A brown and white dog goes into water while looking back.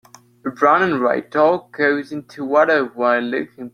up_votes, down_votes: 0, 2